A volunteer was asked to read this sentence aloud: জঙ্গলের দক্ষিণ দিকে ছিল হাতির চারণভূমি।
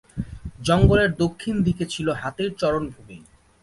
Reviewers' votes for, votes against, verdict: 0, 2, rejected